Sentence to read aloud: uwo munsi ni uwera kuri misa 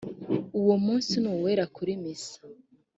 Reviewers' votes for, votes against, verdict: 2, 0, accepted